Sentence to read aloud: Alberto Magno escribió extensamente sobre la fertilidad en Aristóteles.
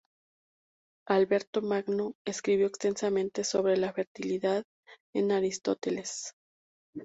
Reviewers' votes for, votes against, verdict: 4, 0, accepted